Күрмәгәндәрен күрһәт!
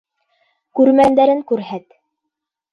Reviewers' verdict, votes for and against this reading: rejected, 1, 2